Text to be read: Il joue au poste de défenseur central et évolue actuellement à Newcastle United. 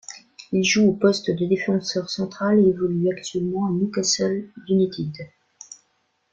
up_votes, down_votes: 0, 2